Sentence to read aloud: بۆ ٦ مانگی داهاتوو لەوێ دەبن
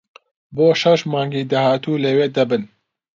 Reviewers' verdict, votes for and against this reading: rejected, 0, 2